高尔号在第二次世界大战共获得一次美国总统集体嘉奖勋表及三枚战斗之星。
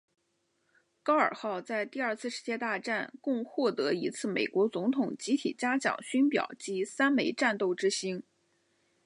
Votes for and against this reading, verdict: 2, 0, accepted